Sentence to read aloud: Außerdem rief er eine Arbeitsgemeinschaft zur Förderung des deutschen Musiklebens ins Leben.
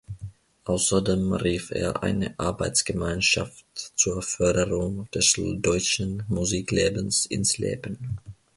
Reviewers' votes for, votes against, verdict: 1, 2, rejected